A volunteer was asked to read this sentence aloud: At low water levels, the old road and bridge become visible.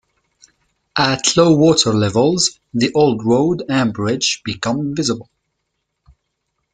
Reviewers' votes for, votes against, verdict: 2, 0, accepted